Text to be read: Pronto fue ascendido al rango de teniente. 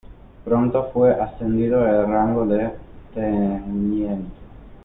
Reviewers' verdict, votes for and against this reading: rejected, 0, 2